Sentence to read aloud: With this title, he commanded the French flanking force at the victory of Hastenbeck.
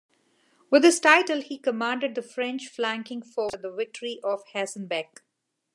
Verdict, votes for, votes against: rejected, 1, 2